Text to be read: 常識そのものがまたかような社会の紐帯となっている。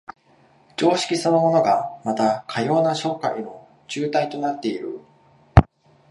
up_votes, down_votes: 0, 2